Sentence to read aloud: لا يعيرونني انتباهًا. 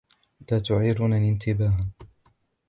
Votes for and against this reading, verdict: 0, 2, rejected